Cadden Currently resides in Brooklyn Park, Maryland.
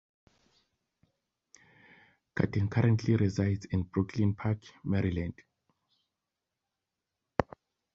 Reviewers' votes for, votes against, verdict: 2, 0, accepted